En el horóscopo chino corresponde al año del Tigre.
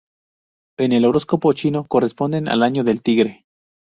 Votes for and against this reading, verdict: 2, 0, accepted